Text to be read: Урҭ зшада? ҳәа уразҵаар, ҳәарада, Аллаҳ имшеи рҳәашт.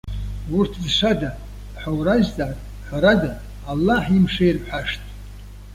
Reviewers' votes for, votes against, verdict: 2, 1, accepted